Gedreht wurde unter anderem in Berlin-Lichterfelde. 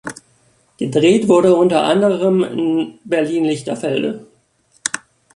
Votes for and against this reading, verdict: 1, 2, rejected